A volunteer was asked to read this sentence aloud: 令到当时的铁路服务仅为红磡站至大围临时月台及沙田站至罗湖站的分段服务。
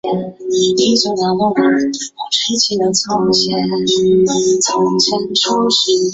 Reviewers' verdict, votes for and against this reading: rejected, 0, 2